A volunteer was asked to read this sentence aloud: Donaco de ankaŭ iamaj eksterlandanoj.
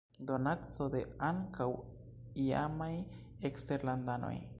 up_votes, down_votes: 2, 1